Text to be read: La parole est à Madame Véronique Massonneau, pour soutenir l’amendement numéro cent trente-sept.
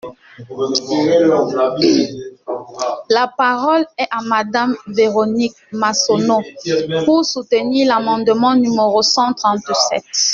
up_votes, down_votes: 0, 2